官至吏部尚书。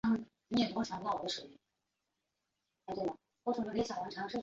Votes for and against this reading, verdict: 0, 2, rejected